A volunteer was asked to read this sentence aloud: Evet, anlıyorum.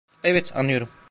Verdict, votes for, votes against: rejected, 1, 2